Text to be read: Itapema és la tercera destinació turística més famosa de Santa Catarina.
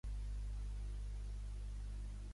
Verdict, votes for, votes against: rejected, 0, 2